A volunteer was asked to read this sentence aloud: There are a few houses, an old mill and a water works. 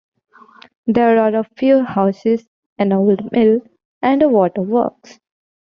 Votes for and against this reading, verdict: 2, 0, accepted